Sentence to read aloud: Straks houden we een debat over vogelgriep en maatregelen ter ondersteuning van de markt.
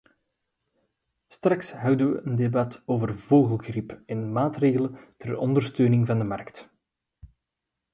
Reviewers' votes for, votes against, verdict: 2, 0, accepted